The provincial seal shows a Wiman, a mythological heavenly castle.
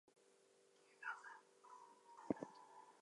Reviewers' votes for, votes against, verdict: 0, 2, rejected